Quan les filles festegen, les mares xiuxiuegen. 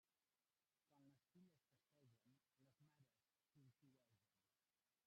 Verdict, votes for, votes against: rejected, 0, 2